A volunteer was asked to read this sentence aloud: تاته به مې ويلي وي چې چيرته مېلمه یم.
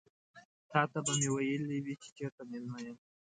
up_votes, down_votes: 2, 0